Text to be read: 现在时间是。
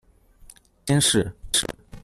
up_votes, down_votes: 0, 2